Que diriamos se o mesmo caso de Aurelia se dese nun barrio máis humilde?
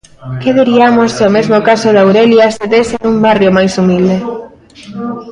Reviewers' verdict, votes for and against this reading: rejected, 1, 2